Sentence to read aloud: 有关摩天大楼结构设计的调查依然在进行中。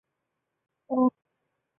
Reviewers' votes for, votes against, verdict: 0, 2, rejected